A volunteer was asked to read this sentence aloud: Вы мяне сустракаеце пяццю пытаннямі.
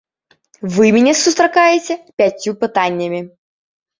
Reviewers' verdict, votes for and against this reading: accepted, 2, 0